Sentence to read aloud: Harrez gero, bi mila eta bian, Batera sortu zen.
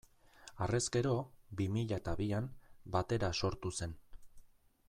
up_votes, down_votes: 2, 0